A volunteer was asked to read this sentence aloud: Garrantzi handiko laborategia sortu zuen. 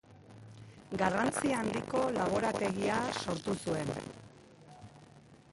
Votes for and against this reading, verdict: 1, 2, rejected